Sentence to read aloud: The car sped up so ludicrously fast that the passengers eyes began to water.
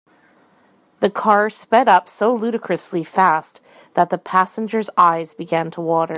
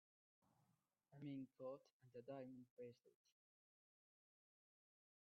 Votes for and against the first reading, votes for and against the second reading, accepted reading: 2, 0, 0, 3, first